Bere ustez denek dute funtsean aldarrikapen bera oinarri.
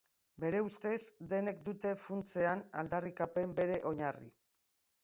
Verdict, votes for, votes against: rejected, 1, 2